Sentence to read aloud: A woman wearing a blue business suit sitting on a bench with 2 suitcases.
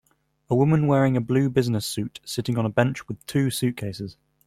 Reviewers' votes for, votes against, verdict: 0, 2, rejected